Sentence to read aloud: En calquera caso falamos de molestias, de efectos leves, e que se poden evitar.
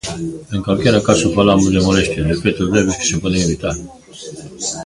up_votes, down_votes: 1, 2